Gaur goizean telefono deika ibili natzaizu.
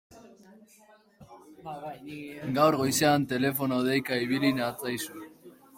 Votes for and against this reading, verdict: 1, 3, rejected